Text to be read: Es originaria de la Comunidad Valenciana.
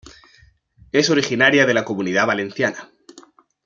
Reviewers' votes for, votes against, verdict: 2, 0, accepted